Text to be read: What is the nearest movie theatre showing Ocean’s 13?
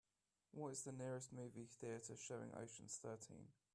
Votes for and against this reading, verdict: 0, 2, rejected